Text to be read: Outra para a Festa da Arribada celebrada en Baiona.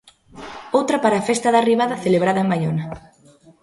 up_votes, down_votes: 0, 2